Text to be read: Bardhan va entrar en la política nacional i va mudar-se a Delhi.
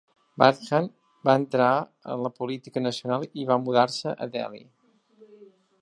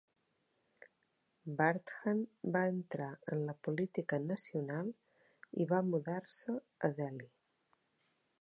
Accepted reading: first